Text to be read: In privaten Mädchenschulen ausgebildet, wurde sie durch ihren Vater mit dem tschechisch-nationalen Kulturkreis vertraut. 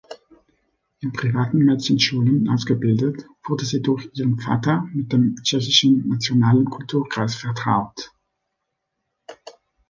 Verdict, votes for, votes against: rejected, 1, 2